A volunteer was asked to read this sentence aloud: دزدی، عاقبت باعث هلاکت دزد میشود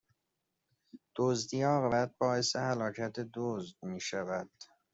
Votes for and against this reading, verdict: 1, 2, rejected